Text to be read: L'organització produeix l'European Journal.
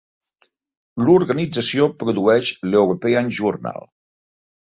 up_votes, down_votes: 2, 0